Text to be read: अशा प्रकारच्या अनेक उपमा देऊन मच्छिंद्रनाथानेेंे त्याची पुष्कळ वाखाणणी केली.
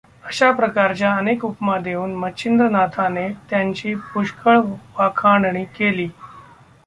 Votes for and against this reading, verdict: 1, 2, rejected